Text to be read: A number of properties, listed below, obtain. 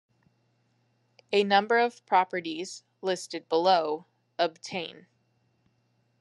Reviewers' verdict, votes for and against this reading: accepted, 2, 0